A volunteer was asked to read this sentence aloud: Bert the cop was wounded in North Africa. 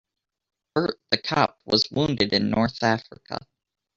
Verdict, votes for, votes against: rejected, 1, 2